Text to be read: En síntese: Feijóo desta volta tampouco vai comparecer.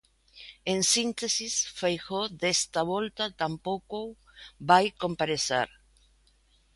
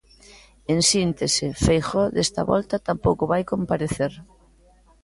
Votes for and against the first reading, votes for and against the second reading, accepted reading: 0, 2, 2, 0, second